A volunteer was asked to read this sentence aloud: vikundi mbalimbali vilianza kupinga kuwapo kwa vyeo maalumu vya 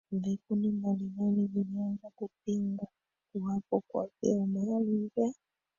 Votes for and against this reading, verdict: 1, 2, rejected